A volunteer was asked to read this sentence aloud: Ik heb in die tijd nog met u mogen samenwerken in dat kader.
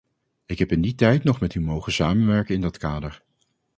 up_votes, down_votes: 2, 0